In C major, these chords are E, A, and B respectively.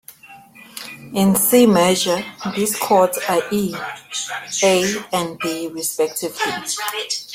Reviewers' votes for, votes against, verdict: 0, 2, rejected